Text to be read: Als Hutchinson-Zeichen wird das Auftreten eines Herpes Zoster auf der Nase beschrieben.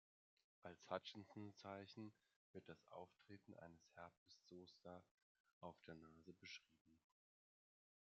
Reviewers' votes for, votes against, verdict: 1, 2, rejected